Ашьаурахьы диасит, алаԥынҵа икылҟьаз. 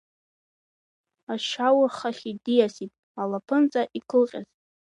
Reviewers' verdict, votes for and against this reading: rejected, 0, 3